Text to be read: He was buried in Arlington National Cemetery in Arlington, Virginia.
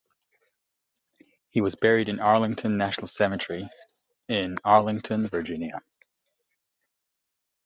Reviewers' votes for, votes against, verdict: 2, 0, accepted